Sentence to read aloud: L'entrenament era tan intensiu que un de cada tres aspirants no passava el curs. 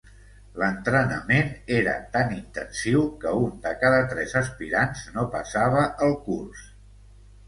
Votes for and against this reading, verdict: 2, 0, accepted